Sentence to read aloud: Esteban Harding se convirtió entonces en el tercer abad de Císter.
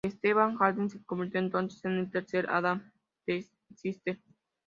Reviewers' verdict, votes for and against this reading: rejected, 0, 2